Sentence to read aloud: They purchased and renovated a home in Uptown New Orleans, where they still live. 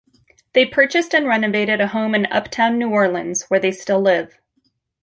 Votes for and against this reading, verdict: 2, 0, accepted